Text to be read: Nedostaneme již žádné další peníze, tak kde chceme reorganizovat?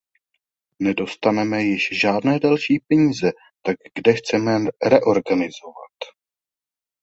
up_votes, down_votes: 1, 2